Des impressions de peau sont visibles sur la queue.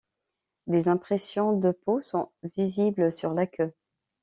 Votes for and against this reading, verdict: 0, 2, rejected